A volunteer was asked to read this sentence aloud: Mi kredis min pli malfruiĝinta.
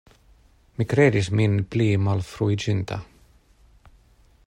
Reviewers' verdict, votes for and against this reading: accepted, 2, 0